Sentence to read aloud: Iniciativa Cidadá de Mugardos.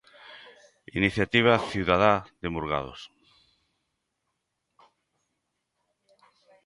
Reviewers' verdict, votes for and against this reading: rejected, 0, 2